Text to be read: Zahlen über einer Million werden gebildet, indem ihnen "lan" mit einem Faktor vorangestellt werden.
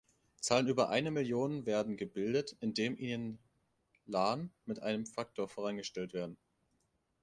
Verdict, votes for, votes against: accepted, 2, 0